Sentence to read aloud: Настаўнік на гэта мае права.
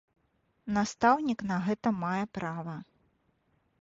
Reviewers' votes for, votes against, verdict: 2, 0, accepted